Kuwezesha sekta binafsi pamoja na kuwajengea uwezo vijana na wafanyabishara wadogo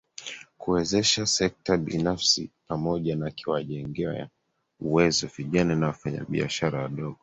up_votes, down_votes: 0, 2